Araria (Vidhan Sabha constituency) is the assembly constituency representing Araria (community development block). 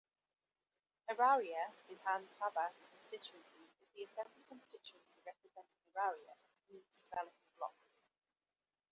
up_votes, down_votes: 0, 2